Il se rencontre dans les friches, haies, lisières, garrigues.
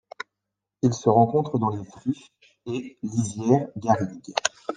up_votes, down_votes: 2, 0